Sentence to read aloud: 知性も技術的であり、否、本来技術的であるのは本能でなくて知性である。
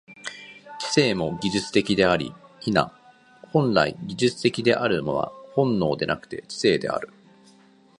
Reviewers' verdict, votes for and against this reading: accepted, 2, 0